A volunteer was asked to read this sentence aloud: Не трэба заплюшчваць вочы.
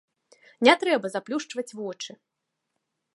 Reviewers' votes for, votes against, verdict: 2, 0, accepted